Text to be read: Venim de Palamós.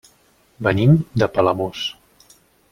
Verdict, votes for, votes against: accepted, 3, 0